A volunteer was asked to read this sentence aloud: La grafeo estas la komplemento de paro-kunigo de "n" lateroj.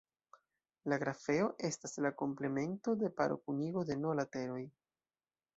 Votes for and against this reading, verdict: 3, 1, accepted